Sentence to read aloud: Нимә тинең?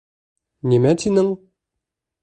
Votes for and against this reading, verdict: 2, 0, accepted